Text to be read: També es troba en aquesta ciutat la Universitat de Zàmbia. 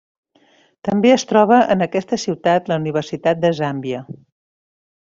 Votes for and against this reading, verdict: 4, 0, accepted